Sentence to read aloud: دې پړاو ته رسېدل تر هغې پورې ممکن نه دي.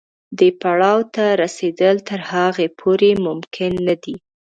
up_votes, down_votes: 2, 0